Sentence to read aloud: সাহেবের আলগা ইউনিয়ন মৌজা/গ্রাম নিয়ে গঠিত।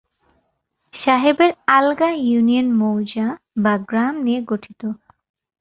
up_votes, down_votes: 2, 0